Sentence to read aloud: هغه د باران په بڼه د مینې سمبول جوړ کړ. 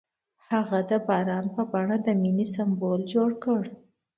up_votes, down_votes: 2, 0